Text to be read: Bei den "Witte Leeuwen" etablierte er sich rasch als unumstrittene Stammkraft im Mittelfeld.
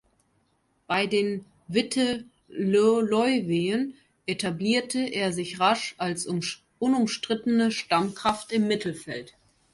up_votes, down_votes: 0, 2